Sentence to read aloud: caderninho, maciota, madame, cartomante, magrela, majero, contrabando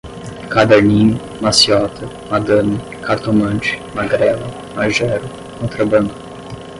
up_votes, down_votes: 5, 5